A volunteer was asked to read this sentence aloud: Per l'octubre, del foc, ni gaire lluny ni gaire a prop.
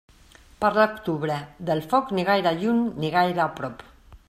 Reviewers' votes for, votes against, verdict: 1, 2, rejected